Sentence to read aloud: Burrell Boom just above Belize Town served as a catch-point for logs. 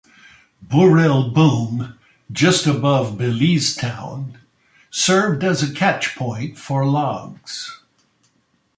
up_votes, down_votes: 2, 0